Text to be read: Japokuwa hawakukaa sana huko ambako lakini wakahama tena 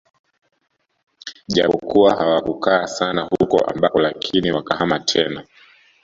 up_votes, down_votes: 1, 2